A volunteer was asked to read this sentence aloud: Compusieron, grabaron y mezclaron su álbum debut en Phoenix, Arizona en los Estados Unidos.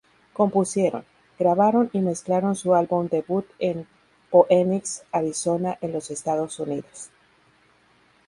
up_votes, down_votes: 2, 0